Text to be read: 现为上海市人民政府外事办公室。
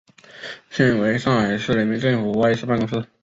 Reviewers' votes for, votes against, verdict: 2, 1, accepted